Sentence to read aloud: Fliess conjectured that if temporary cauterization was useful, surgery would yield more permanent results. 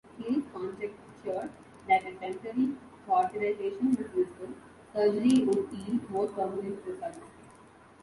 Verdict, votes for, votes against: rejected, 0, 2